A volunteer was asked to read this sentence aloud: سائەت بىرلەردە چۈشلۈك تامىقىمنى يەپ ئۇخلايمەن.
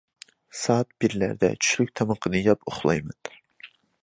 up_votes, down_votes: 1, 2